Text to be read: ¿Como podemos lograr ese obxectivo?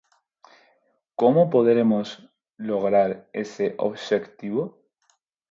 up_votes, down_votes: 0, 4